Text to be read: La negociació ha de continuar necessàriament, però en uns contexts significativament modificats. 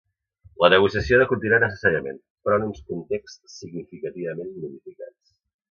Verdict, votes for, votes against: rejected, 1, 2